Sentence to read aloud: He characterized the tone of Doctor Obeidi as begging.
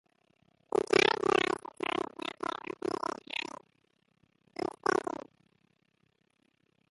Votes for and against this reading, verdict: 0, 2, rejected